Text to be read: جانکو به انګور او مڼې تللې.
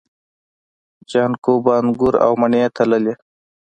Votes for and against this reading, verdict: 2, 0, accepted